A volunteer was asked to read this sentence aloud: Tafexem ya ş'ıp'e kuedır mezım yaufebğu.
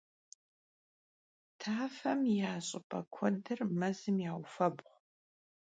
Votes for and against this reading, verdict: 0, 2, rejected